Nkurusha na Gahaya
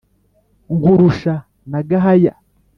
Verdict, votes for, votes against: accepted, 2, 0